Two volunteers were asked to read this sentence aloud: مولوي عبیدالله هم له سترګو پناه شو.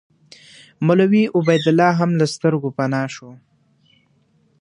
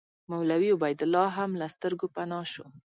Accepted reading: second